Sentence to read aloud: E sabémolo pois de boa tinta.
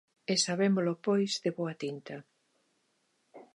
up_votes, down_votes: 2, 0